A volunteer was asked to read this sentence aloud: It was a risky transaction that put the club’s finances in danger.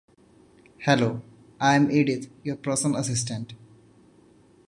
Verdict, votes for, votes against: rejected, 0, 2